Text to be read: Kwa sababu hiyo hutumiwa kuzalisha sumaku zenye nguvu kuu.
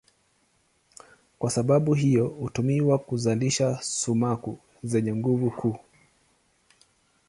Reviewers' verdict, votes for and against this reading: accepted, 2, 0